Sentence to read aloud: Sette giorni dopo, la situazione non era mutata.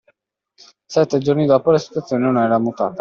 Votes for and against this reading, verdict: 2, 0, accepted